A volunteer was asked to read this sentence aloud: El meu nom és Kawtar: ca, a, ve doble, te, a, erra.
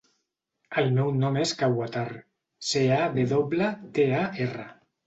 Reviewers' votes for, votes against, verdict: 1, 2, rejected